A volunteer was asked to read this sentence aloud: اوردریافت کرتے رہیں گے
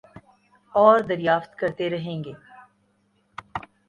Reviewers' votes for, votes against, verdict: 7, 1, accepted